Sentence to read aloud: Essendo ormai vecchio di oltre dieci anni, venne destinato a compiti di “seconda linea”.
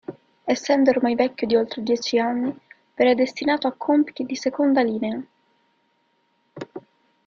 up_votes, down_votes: 2, 0